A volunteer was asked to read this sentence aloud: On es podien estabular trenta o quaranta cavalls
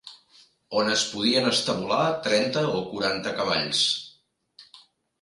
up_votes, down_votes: 2, 1